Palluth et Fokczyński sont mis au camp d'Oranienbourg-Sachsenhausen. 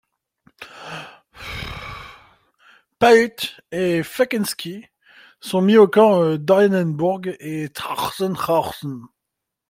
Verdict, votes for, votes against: rejected, 0, 2